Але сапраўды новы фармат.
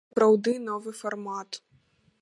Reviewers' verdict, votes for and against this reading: rejected, 1, 2